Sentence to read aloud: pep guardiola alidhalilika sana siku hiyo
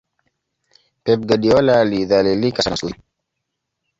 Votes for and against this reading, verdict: 0, 2, rejected